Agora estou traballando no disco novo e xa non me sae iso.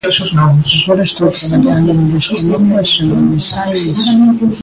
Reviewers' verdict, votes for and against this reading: rejected, 0, 2